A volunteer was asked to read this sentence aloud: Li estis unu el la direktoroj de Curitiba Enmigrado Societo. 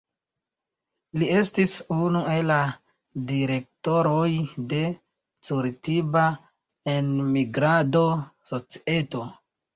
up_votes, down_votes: 2, 1